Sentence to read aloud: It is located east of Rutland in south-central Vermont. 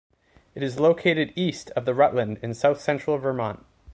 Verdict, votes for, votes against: accepted, 2, 0